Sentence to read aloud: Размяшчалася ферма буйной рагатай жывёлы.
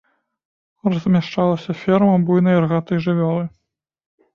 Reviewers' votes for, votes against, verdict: 0, 2, rejected